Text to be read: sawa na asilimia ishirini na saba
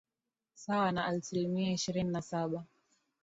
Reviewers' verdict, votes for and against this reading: accepted, 2, 0